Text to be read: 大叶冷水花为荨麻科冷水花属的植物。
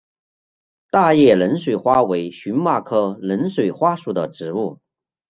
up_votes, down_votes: 2, 0